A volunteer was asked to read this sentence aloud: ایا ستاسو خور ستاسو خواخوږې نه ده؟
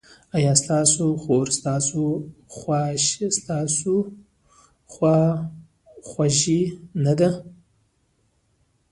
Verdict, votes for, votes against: rejected, 1, 2